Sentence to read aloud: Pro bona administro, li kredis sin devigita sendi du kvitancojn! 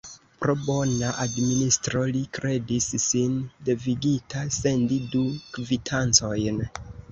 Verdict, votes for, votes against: rejected, 0, 2